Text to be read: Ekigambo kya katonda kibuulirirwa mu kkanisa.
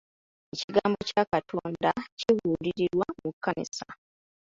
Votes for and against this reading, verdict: 1, 2, rejected